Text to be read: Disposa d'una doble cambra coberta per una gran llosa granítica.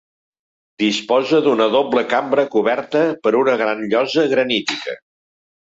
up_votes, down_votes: 4, 0